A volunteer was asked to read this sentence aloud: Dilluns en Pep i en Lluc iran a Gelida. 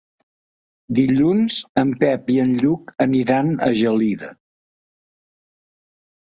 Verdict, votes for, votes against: rejected, 0, 2